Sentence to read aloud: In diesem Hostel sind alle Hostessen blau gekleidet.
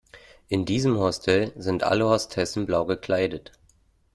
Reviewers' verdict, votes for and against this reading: accepted, 2, 0